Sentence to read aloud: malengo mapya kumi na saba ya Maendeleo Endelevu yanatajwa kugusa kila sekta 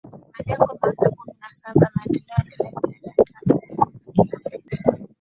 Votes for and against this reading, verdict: 0, 4, rejected